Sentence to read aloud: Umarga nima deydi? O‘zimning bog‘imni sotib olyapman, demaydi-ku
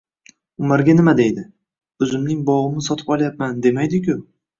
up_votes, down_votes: 2, 0